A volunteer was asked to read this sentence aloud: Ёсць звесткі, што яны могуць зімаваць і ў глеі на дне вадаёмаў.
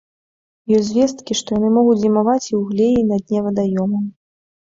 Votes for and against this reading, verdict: 2, 0, accepted